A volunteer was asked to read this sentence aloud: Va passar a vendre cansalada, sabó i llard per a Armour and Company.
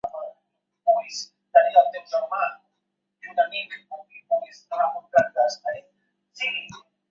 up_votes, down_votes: 1, 2